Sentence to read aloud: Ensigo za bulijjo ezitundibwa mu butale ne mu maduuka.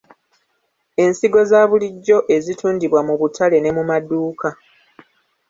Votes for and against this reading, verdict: 1, 2, rejected